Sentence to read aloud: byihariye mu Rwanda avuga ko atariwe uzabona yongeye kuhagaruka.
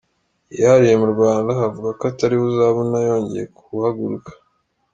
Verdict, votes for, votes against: accepted, 2, 0